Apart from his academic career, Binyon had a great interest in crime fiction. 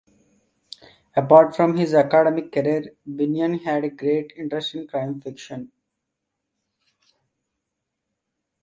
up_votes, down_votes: 1, 2